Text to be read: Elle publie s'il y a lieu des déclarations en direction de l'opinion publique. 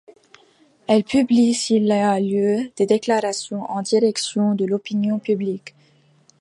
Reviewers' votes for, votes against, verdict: 1, 2, rejected